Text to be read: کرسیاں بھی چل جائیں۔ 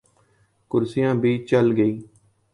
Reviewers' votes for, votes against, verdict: 0, 2, rejected